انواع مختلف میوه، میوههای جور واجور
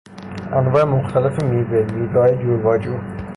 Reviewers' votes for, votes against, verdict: 3, 3, rejected